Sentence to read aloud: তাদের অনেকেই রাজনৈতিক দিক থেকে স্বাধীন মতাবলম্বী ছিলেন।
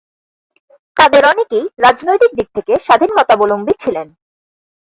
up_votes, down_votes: 0, 4